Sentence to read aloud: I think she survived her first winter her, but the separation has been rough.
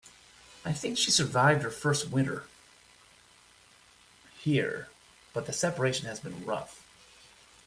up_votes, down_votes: 0, 2